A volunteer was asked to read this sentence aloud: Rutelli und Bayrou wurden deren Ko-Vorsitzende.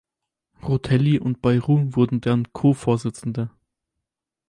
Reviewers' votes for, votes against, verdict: 4, 0, accepted